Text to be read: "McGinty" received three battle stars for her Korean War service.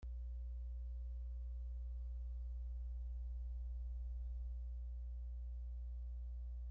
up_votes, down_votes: 0, 2